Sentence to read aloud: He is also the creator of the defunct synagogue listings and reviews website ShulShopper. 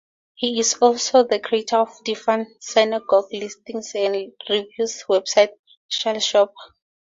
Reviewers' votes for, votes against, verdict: 2, 2, rejected